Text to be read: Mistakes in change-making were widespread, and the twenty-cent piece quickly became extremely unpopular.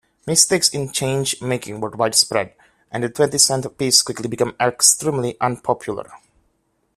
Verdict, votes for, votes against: accepted, 2, 0